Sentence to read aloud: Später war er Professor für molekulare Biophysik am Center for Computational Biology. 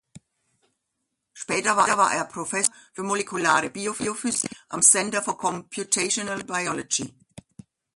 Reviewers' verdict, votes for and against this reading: rejected, 0, 2